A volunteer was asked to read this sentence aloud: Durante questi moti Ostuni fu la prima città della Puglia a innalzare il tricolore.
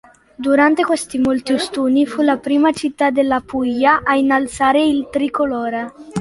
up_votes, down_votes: 0, 2